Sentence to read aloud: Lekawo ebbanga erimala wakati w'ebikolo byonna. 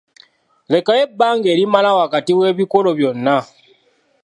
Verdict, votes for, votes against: accepted, 2, 0